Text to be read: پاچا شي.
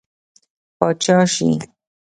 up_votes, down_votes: 0, 2